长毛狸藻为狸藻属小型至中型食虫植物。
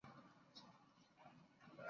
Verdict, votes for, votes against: rejected, 1, 2